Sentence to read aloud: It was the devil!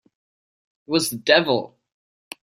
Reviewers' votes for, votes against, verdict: 2, 3, rejected